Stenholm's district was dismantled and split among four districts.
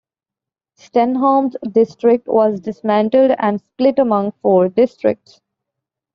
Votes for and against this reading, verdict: 2, 0, accepted